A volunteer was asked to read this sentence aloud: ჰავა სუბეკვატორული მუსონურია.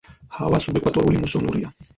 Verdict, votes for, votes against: rejected, 0, 4